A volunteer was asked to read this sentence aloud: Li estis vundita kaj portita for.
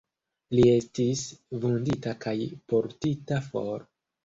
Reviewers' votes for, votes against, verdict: 1, 2, rejected